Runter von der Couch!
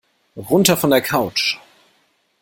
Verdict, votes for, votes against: accepted, 2, 0